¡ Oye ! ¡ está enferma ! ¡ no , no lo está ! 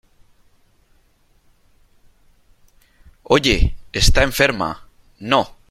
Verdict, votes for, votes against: rejected, 0, 2